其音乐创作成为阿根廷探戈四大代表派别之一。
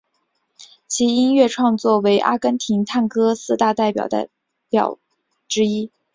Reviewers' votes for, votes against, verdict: 1, 5, rejected